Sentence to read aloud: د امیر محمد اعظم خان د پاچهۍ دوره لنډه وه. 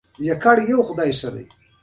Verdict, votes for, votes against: accepted, 2, 0